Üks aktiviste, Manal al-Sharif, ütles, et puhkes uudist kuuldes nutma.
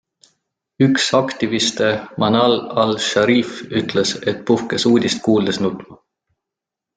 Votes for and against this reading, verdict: 2, 0, accepted